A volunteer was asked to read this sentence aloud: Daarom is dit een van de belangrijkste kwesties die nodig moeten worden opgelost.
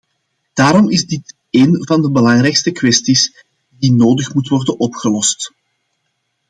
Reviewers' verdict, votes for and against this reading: accepted, 2, 0